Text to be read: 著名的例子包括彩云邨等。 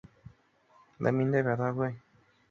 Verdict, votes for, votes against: rejected, 0, 4